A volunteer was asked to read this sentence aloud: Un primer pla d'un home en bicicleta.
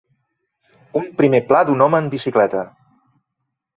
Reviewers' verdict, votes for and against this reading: accepted, 4, 0